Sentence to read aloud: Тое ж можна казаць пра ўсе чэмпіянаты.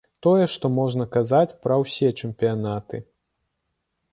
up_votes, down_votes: 1, 2